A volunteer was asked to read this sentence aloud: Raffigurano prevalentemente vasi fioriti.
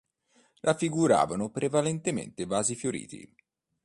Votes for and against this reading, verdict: 1, 3, rejected